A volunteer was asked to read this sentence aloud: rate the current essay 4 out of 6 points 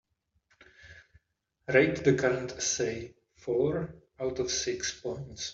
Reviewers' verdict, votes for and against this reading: rejected, 0, 2